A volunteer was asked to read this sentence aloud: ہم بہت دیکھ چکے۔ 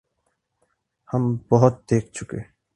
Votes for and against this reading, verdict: 6, 0, accepted